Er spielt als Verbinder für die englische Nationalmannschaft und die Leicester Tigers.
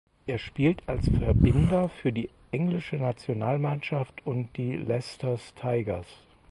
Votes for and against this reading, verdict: 2, 6, rejected